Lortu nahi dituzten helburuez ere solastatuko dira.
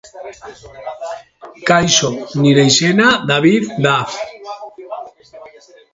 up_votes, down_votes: 0, 2